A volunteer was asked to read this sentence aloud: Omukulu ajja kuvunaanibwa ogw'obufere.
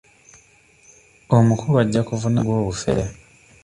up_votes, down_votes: 1, 2